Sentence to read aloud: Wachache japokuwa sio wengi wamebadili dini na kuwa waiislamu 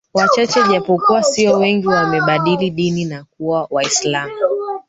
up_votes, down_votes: 1, 3